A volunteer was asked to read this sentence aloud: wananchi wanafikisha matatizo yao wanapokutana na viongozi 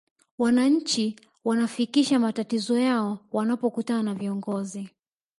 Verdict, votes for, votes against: accepted, 2, 0